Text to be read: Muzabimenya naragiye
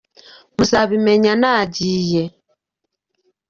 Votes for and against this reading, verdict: 1, 2, rejected